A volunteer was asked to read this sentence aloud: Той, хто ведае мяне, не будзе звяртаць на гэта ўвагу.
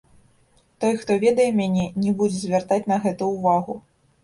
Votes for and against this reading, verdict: 1, 2, rejected